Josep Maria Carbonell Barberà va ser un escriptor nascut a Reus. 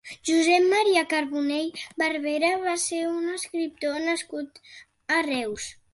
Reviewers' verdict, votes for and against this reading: accepted, 3, 0